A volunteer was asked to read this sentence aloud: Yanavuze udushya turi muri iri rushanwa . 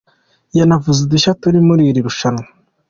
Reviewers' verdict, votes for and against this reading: accepted, 2, 0